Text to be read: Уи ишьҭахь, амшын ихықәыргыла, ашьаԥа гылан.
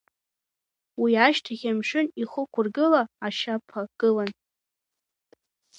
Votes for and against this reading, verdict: 0, 2, rejected